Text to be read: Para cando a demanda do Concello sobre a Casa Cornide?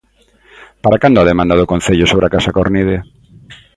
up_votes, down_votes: 2, 0